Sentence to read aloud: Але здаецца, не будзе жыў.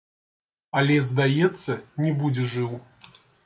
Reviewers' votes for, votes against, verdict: 0, 2, rejected